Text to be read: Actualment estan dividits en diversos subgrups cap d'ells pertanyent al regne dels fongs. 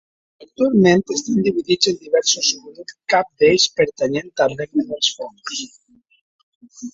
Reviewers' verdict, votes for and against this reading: rejected, 0, 2